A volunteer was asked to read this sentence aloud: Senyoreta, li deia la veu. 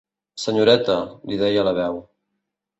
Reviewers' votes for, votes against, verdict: 2, 0, accepted